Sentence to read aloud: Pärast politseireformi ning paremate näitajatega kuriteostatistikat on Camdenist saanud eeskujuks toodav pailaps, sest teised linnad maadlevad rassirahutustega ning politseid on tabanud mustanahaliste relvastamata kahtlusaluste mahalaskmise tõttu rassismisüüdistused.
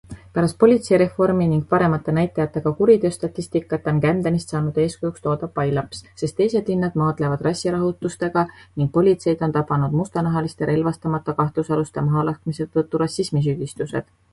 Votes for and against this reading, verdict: 2, 1, accepted